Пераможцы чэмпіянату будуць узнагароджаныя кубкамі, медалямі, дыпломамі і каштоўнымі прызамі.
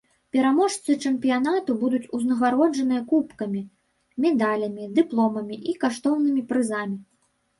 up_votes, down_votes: 1, 2